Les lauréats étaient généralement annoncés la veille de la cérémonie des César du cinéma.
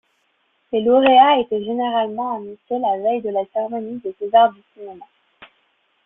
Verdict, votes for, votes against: accepted, 3, 2